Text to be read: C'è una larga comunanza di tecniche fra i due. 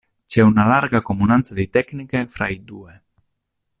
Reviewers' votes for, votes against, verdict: 2, 0, accepted